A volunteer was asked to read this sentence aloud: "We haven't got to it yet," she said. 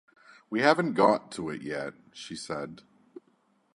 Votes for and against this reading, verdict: 2, 0, accepted